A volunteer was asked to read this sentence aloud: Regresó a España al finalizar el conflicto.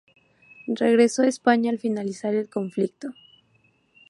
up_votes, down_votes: 2, 0